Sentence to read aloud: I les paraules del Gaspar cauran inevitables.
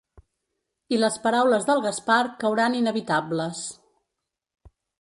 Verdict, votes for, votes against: accepted, 2, 0